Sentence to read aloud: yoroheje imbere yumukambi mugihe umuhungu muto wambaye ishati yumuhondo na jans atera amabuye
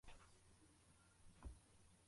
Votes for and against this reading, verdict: 0, 3, rejected